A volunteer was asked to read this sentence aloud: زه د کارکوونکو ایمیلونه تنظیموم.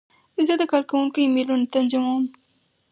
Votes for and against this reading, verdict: 2, 2, rejected